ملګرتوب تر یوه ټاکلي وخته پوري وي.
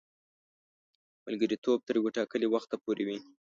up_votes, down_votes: 2, 1